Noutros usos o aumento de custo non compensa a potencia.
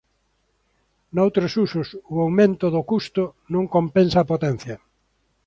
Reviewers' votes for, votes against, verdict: 0, 2, rejected